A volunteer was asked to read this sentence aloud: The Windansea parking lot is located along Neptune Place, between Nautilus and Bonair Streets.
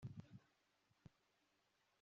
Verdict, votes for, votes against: rejected, 1, 2